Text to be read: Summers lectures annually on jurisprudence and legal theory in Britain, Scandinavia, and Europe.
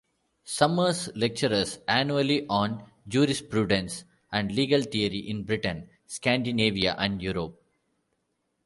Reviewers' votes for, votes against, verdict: 1, 2, rejected